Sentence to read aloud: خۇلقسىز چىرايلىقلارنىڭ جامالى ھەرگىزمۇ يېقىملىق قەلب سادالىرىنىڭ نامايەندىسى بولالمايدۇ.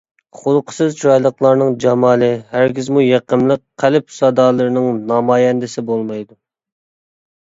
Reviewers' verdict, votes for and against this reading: rejected, 0, 2